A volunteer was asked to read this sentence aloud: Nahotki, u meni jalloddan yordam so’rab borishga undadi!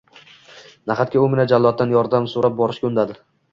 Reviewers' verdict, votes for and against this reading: rejected, 1, 2